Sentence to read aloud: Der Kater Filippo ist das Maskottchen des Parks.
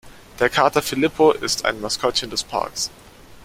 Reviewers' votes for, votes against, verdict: 0, 2, rejected